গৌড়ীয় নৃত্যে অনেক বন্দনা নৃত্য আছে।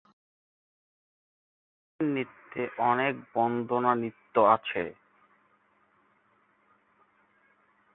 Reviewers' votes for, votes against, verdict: 0, 3, rejected